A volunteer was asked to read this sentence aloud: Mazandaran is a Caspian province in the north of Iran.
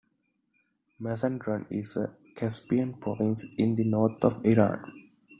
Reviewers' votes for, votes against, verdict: 2, 0, accepted